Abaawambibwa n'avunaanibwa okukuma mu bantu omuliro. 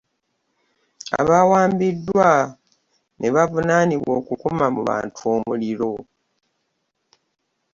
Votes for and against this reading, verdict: 0, 2, rejected